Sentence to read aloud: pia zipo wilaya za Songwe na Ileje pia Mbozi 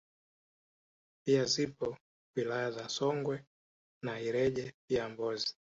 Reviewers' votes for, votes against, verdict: 2, 0, accepted